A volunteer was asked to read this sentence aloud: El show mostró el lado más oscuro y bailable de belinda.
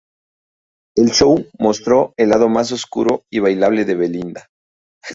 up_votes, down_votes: 2, 0